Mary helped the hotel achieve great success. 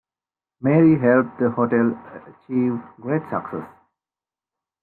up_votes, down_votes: 2, 0